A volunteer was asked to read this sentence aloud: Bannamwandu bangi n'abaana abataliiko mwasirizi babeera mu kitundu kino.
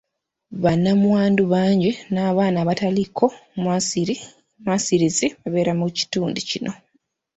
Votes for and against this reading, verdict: 0, 2, rejected